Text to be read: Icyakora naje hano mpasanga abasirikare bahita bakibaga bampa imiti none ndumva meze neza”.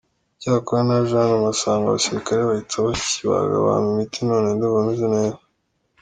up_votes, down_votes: 1, 3